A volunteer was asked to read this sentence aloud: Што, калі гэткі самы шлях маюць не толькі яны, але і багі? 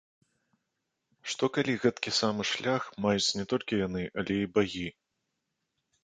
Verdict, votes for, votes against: accepted, 2, 0